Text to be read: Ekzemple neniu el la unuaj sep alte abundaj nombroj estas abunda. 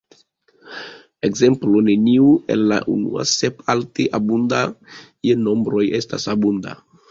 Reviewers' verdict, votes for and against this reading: rejected, 1, 3